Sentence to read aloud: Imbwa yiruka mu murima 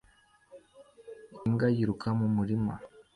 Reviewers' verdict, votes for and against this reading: accepted, 2, 0